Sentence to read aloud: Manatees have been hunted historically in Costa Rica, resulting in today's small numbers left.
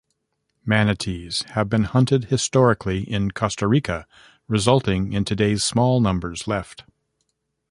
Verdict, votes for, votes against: rejected, 0, 2